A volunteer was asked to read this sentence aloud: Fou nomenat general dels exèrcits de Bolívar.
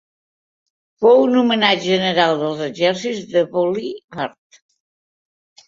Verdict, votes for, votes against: rejected, 1, 2